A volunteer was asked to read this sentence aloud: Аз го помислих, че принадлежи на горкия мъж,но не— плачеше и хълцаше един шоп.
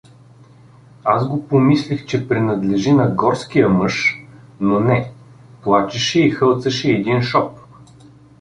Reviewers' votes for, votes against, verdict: 1, 2, rejected